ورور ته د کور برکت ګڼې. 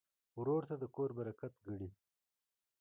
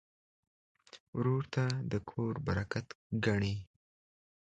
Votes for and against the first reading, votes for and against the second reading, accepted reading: 1, 2, 2, 0, second